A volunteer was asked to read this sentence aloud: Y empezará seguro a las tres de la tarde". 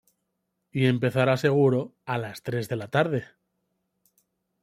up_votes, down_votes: 2, 0